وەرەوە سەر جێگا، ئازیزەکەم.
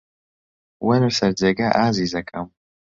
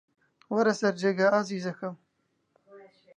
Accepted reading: second